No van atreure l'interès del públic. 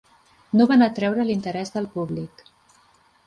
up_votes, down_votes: 2, 0